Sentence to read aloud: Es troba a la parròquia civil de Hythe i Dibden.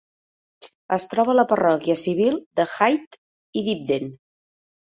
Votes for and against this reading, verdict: 2, 0, accepted